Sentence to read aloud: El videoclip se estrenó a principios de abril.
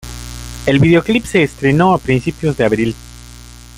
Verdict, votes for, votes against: rejected, 2, 3